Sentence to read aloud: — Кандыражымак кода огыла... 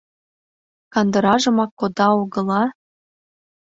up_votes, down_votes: 2, 0